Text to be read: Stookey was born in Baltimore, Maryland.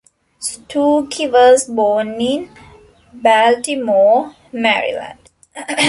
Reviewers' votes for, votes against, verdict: 1, 2, rejected